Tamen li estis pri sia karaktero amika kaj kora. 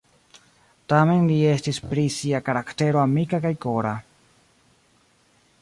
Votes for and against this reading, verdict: 3, 1, accepted